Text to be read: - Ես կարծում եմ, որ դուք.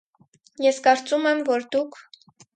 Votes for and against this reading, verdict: 4, 0, accepted